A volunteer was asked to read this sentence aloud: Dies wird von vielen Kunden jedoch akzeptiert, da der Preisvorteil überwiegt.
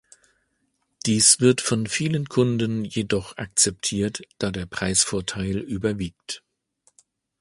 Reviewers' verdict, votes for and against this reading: accepted, 2, 0